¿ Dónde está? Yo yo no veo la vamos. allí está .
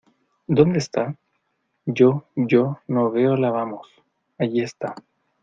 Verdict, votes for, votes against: accepted, 2, 0